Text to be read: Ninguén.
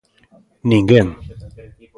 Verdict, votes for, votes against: rejected, 1, 2